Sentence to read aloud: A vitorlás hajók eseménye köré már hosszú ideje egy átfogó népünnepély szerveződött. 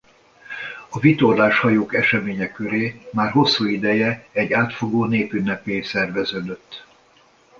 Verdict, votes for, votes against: accepted, 2, 0